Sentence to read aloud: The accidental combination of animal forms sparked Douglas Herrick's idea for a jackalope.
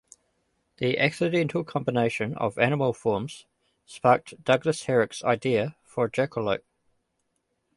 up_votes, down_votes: 2, 0